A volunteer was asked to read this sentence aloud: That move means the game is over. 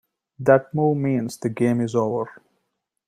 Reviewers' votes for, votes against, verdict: 2, 0, accepted